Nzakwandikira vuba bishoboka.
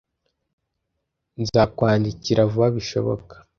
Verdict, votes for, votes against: accepted, 2, 0